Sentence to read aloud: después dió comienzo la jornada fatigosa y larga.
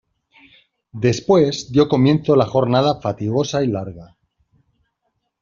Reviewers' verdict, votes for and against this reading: accepted, 2, 0